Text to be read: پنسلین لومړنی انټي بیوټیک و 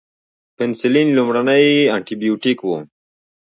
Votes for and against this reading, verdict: 2, 1, accepted